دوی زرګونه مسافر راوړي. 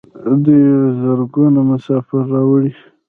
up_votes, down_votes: 0, 2